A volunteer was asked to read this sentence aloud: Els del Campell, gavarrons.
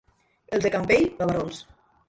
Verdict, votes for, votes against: accepted, 2, 1